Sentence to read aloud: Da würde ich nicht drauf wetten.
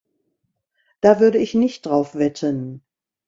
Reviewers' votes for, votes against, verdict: 2, 0, accepted